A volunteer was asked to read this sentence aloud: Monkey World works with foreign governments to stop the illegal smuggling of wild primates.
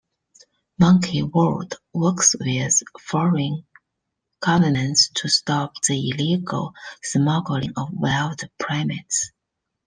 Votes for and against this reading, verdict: 0, 2, rejected